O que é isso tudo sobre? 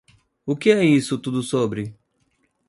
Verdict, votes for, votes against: accepted, 2, 0